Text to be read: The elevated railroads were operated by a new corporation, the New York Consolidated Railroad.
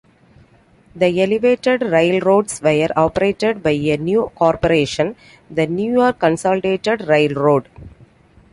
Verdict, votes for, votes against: accepted, 2, 0